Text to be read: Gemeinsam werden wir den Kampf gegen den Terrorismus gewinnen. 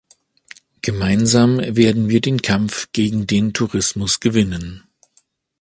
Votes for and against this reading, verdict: 0, 2, rejected